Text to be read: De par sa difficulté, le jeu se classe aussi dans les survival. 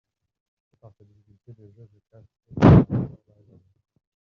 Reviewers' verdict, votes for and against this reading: rejected, 0, 2